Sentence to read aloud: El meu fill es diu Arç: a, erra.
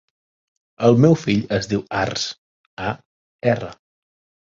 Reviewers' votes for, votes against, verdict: 2, 0, accepted